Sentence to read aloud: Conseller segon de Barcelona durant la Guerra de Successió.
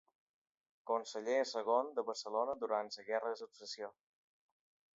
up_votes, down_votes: 3, 2